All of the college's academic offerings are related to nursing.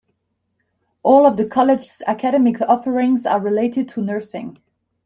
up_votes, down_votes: 2, 0